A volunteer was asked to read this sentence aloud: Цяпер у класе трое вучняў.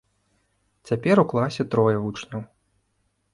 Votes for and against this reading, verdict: 2, 0, accepted